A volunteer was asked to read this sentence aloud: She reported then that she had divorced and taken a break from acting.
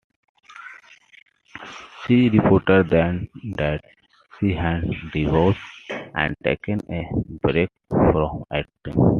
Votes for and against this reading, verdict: 2, 1, accepted